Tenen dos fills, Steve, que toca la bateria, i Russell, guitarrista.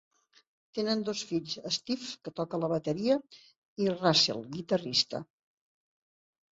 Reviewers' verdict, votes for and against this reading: accepted, 6, 0